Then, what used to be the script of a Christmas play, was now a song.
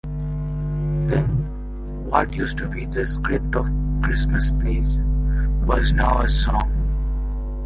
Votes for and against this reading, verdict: 2, 0, accepted